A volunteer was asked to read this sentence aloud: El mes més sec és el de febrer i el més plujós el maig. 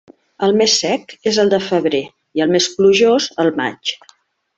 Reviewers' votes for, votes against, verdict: 1, 2, rejected